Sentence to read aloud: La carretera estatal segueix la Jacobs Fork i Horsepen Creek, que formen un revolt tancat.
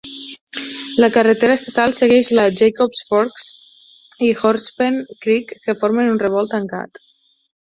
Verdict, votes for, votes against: rejected, 2, 4